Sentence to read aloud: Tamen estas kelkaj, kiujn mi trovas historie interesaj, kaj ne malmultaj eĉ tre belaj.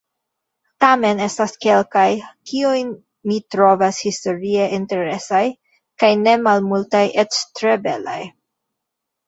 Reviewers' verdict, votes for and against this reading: accepted, 2, 1